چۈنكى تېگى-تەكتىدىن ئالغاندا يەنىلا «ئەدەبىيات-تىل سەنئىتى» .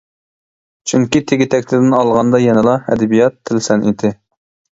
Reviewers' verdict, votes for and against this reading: accepted, 2, 0